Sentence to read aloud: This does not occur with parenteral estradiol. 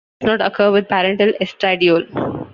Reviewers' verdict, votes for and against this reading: rejected, 0, 2